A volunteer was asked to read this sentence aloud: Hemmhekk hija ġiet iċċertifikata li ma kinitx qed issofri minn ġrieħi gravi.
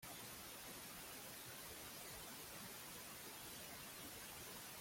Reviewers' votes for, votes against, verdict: 0, 2, rejected